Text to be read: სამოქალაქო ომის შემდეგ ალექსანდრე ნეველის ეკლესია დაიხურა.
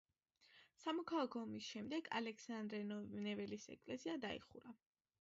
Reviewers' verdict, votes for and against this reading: rejected, 0, 2